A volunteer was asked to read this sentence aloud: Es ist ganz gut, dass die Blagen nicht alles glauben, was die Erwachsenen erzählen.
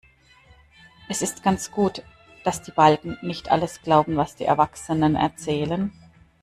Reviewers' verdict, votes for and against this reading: rejected, 0, 2